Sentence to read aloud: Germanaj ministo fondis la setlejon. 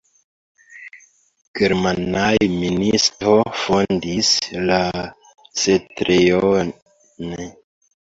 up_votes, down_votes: 0, 2